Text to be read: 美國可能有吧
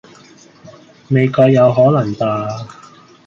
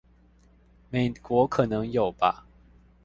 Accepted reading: second